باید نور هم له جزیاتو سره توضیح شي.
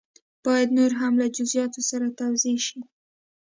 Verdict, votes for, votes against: accepted, 2, 0